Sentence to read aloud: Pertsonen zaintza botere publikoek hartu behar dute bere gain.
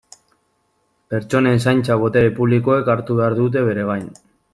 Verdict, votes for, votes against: accepted, 2, 0